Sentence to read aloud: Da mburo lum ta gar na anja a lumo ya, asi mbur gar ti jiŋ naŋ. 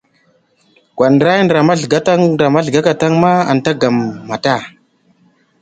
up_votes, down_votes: 0, 2